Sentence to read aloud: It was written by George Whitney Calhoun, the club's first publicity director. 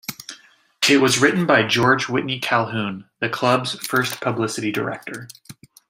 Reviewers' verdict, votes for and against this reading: accepted, 2, 0